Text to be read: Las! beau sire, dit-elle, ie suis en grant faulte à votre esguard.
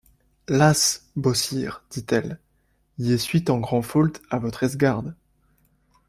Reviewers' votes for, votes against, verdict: 1, 2, rejected